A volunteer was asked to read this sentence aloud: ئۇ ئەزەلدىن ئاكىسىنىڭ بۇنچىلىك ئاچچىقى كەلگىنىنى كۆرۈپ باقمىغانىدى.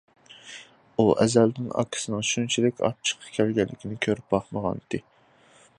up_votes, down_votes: 2, 1